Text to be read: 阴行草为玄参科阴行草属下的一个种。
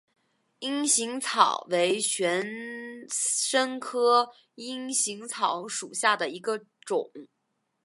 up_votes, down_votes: 2, 0